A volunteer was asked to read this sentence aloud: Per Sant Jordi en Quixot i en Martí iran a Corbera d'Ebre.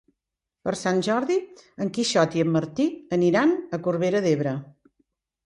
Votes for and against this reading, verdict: 1, 2, rejected